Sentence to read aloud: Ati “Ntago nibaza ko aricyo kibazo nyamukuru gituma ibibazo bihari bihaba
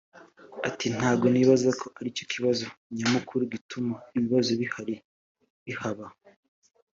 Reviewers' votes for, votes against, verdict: 2, 1, accepted